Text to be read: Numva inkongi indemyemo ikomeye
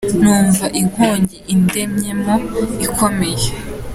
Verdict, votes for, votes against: accepted, 2, 1